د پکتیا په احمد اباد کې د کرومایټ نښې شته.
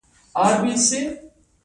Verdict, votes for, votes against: rejected, 1, 2